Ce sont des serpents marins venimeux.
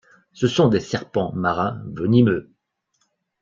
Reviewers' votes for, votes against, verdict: 2, 0, accepted